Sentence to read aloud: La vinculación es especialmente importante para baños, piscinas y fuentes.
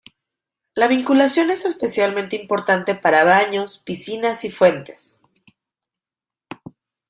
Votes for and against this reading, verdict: 2, 0, accepted